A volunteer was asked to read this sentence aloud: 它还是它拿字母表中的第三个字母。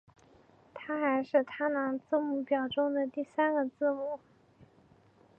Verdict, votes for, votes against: accepted, 2, 1